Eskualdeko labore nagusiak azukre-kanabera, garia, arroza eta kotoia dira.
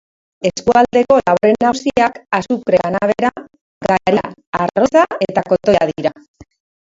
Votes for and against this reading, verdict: 0, 2, rejected